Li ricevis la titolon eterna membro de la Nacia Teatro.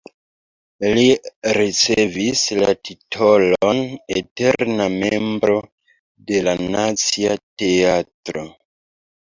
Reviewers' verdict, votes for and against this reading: accepted, 2, 1